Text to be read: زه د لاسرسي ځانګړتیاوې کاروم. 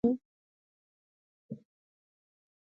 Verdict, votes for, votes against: rejected, 1, 2